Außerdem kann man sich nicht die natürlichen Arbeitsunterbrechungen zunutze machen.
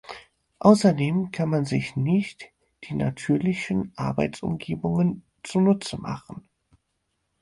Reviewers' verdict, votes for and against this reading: rejected, 0, 4